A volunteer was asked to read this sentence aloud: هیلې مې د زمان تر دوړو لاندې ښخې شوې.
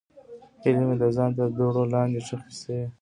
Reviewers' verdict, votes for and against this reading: accepted, 2, 0